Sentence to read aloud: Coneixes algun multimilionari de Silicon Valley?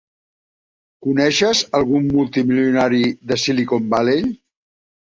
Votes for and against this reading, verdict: 3, 1, accepted